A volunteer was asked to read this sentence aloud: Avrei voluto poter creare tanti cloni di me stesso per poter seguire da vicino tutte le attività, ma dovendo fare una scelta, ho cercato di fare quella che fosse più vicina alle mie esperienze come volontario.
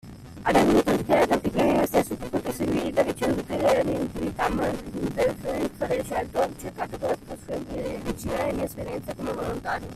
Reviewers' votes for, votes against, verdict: 0, 2, rejected